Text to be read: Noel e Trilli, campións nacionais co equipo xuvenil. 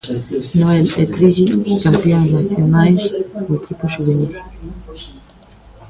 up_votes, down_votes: 1, 2